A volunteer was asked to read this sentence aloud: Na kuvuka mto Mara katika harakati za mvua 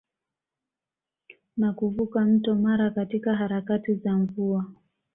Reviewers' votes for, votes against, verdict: 2, 1, accepted